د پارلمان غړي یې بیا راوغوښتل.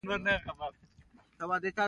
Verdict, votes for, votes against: accepted, 2, 0